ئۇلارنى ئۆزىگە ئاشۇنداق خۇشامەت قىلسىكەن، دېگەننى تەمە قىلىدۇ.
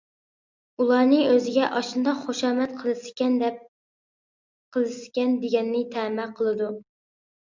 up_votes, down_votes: 0, 2